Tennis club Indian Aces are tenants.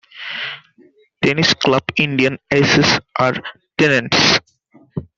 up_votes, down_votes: 2, 1